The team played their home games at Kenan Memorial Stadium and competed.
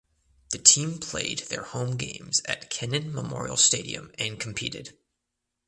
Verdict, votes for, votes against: accepted, 2, 0